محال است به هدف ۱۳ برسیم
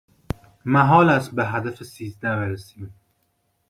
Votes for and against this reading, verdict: 0, 2, rejected